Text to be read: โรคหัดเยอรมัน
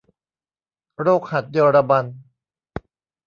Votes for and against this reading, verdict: 2, 0, accepted